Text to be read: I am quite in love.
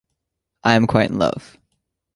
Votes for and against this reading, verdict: 2, 0, accepted